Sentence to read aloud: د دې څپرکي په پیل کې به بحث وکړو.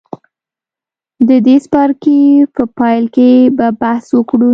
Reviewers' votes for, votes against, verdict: 2, 0, accepted